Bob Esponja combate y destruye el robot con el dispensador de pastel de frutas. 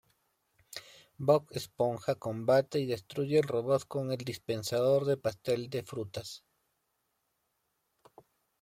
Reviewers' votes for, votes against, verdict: 2, 0, accepted